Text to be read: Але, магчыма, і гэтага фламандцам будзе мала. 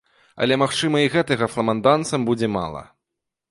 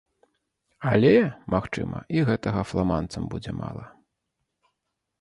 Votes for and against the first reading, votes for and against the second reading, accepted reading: 0, 2, 3, 0, second